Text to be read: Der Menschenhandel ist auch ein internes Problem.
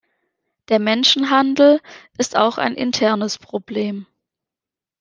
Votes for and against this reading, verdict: 3, 0, accepted